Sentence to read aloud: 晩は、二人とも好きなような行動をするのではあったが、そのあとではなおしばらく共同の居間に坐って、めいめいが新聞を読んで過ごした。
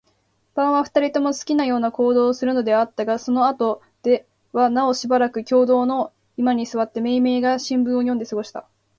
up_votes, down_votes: 5, 1